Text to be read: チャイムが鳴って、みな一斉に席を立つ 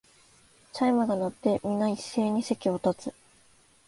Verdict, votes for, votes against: accepted, 2, 0